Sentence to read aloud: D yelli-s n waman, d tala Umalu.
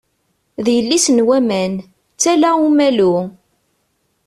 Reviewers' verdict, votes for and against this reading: accepted, 2, 0